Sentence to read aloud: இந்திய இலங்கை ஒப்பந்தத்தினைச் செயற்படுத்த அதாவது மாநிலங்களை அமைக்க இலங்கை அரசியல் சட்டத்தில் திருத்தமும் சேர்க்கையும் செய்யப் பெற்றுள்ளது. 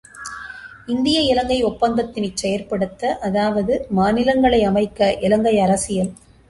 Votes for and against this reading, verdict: 0, 2, rejected